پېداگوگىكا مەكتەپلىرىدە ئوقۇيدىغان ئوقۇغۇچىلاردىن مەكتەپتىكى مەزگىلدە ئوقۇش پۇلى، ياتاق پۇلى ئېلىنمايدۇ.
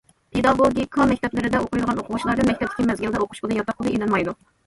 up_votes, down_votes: 1, 2